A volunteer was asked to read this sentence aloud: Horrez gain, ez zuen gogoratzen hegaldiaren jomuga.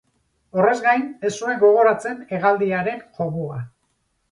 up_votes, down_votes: 4, 0